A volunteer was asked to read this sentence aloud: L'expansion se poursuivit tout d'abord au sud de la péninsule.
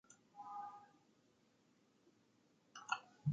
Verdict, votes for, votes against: rejected, 0, 2